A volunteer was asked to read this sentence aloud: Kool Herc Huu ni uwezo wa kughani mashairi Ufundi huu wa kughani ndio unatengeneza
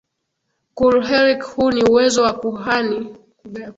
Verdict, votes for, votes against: rejected, 6, 13